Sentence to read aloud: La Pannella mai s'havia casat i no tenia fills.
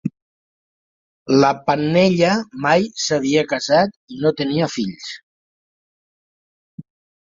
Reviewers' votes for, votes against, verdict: 3, 0, accepted